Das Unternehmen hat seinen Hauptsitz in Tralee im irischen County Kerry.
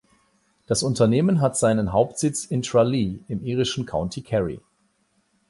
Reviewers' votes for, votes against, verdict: 8, 0, accepted